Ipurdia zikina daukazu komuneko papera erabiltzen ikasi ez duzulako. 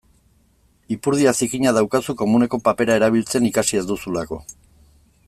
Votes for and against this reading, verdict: 2, 0, accepted